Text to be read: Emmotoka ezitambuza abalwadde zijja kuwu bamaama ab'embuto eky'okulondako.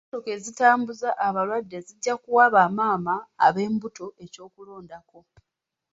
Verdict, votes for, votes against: rejected, 1, 2